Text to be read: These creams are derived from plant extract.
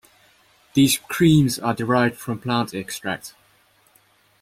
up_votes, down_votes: 2, 0